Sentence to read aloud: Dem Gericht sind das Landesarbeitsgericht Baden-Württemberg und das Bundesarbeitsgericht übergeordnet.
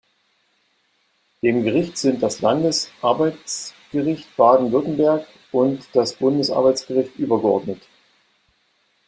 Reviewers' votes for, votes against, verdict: 2, 0, accepted